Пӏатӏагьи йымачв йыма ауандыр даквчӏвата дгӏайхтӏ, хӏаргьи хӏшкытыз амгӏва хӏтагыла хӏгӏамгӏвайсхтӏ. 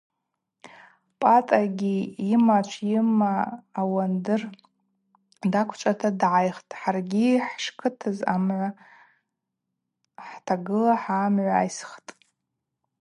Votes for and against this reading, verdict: 4, 0, accepted